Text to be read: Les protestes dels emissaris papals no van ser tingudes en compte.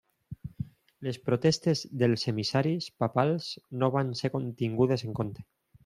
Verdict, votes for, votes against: rejected, 0, 2